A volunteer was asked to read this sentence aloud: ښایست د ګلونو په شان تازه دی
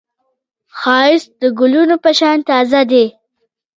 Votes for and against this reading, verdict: 1, 2, rejected